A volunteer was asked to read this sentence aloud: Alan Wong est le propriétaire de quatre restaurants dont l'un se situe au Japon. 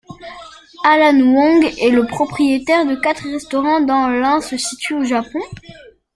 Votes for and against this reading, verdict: 1, 2, rejected